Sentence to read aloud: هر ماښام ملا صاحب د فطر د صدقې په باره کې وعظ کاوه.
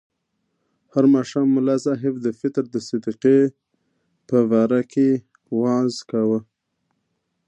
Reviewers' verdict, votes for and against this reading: accepted, 2, 0